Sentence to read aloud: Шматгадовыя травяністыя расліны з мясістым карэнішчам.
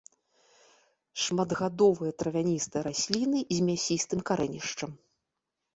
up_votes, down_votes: 2, 0